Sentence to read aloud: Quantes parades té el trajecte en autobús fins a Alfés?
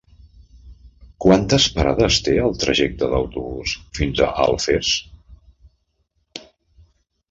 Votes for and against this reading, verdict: 0, 2, rejected